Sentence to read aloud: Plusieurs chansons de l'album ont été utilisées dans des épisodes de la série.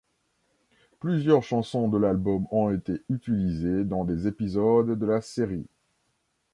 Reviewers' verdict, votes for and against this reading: accepted, 2, 0